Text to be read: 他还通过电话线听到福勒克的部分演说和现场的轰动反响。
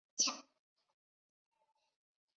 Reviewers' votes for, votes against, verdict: 0, 2, rejected